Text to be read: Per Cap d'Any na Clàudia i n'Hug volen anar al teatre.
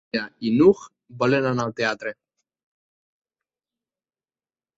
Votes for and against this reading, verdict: 1, 2, rejected